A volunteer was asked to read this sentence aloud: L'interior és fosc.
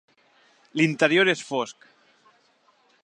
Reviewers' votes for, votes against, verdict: 3, 0, accepted